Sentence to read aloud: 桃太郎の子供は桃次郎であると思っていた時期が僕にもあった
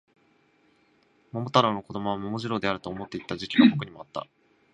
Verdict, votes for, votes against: accepted, 2, 0